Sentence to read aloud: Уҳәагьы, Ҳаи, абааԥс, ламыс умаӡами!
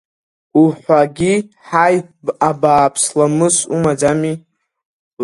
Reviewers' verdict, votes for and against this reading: accepted, 2, 0